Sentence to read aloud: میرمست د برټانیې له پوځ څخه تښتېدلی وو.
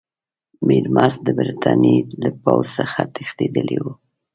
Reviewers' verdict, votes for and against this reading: accepted, 3, 0